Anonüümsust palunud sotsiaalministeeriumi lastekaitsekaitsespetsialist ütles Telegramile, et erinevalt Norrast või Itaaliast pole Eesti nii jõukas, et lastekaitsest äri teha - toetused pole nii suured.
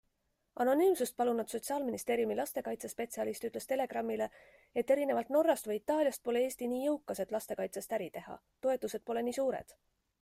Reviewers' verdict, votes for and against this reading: accepted, 2, 0